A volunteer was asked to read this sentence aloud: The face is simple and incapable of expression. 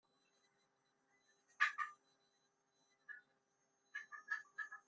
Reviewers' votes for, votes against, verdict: 0, 2, rejected